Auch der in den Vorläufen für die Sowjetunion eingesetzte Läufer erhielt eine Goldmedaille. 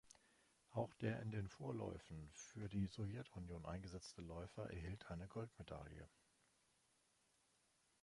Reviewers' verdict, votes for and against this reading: rejected, 1, 2